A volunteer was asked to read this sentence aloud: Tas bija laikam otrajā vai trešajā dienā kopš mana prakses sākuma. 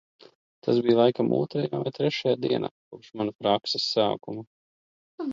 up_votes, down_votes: 2, 1